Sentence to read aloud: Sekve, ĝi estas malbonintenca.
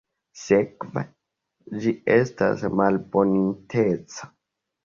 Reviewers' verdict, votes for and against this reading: rejected, 0, 2